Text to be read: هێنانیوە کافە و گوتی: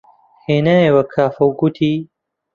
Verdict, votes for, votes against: rejected, 0, 2